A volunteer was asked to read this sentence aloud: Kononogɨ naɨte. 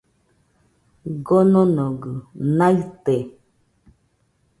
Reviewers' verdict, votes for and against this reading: accepted, 2, 0